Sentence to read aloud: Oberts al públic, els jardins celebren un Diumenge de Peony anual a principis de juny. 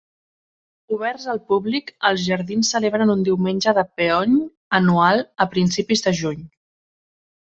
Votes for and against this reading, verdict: 1, 2, rejected